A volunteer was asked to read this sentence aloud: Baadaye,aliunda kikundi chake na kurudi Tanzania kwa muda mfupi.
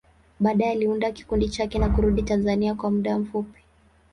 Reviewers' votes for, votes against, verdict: 2, 0, accepted